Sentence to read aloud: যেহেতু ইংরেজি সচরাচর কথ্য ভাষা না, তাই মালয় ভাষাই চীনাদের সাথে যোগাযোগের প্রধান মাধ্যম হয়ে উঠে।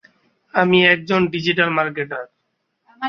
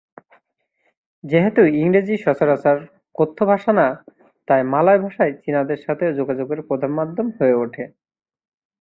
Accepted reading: second